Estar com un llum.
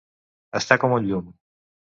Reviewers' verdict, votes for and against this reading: accepted, 2, 0